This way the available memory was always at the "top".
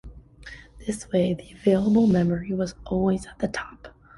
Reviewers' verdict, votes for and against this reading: accepted, 2, 0